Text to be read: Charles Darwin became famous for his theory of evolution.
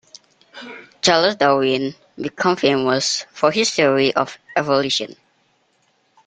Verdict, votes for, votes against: rejected, 1, 2